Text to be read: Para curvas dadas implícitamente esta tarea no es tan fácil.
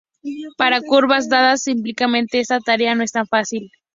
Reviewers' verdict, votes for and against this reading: rejected, 0, 2